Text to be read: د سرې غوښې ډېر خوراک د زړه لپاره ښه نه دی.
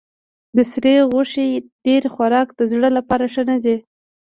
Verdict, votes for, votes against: rejected, 1, 2